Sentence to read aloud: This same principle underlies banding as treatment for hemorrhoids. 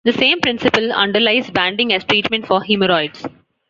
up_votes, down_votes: 2, 1